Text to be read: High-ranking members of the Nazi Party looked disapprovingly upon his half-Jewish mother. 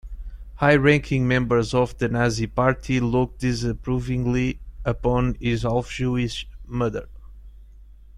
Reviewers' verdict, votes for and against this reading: accepted, 2, 0